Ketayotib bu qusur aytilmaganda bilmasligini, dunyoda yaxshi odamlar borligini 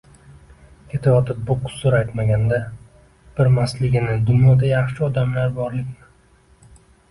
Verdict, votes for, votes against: rejected, 0, 2